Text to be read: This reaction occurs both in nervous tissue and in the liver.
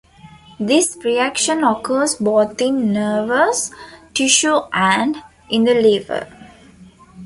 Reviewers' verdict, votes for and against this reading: accepted, 2, 0